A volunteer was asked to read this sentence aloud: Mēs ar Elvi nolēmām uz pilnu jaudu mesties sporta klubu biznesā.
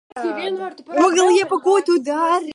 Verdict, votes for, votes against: rejected, 0, 2